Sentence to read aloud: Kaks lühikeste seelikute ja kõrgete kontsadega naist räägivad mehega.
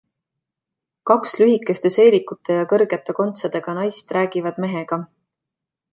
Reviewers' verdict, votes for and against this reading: accepted, 2, 0